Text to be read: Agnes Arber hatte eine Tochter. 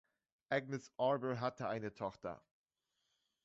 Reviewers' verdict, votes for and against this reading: accepted, 2, 1